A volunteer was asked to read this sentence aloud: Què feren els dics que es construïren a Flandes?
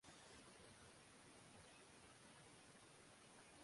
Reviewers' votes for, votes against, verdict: 1, 3, rejected